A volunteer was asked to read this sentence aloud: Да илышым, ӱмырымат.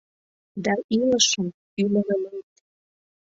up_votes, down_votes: 1, 2